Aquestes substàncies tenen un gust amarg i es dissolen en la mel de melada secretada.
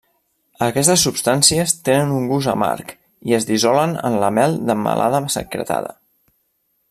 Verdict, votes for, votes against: rejected, 0, 2